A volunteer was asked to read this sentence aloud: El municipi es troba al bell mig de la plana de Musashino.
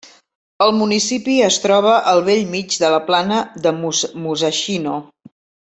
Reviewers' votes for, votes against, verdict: 1, 2, rejected